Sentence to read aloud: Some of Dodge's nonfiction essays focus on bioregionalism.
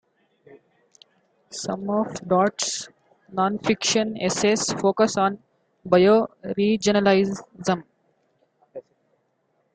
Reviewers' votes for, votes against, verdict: 1, 2, rejected